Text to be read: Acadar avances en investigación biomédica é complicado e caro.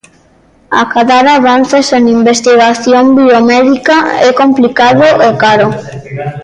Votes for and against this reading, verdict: 1, 2, rejected